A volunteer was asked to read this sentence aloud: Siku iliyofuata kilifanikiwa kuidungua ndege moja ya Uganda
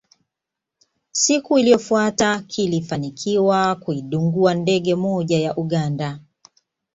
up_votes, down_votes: 2, 0